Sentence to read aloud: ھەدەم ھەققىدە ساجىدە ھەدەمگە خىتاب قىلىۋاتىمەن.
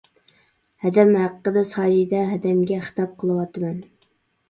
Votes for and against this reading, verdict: 0, 2, rejected